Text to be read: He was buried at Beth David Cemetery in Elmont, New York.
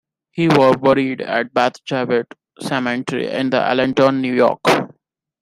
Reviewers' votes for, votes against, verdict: 0, 2, rejected